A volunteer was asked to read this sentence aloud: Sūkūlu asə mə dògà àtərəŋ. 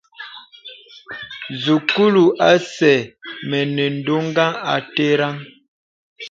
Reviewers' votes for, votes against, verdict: 0, 2, rejected